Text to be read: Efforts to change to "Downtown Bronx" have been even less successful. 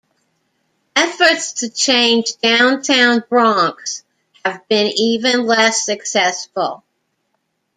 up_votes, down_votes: 1, 2